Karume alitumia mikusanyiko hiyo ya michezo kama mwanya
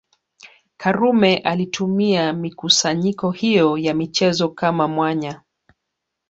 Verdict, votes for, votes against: accepted, 3, 2